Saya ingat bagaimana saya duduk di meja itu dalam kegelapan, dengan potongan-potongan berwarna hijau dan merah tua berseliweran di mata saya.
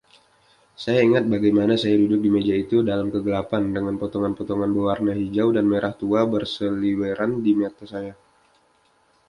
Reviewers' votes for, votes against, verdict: 2, 0, accepted